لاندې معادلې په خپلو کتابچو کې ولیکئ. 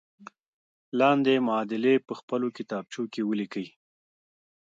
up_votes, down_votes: 2, 0